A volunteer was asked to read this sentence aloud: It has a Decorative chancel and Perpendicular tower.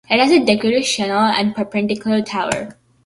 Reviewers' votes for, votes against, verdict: 0, 2, rejected